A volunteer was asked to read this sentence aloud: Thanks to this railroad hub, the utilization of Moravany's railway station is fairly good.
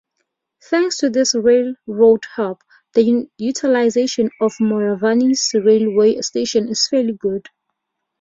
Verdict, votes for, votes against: rejected, 2, 2